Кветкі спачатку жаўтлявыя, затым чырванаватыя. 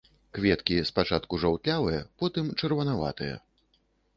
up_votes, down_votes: 1, 2